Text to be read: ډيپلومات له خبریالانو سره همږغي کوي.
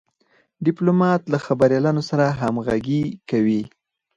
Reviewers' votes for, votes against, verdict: 4, 2, accepted